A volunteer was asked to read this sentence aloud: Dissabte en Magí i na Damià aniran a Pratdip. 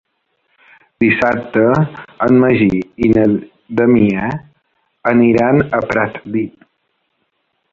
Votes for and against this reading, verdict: 1, 3, rejected